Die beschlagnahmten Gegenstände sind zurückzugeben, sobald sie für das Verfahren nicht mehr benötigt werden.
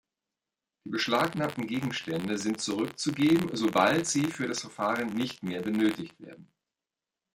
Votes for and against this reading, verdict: 1, 2, rejected